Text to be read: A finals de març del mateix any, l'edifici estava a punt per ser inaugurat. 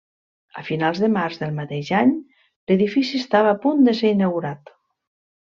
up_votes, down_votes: 1, 2